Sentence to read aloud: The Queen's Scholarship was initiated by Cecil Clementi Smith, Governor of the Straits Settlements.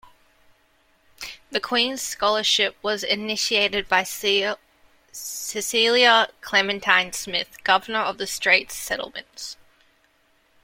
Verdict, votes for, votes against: rejected, 0, 2